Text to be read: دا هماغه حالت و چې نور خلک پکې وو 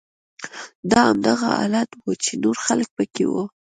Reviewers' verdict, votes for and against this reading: accepted, 2, 0